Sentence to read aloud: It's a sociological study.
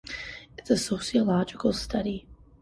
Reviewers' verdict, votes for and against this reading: accepted, 2, 0